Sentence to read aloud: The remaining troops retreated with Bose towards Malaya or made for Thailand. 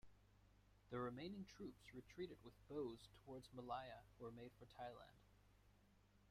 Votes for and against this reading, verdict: 2, 0, accepted